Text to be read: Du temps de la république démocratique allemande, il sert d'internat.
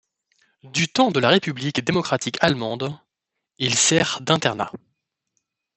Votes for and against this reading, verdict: 2, 0, accepted